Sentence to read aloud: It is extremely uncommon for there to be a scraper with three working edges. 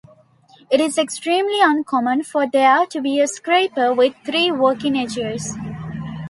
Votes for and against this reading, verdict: 2, 0, accepted